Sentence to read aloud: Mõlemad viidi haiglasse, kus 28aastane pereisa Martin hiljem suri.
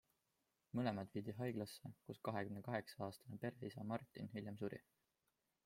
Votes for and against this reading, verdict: 0, 2, rejected